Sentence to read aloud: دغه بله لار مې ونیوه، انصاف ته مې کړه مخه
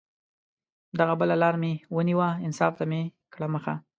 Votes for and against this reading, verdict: 2, 0, accepted